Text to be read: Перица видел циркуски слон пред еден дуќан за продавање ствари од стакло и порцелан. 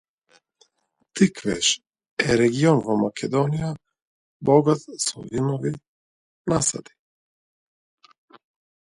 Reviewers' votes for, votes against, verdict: 0, 2, rejected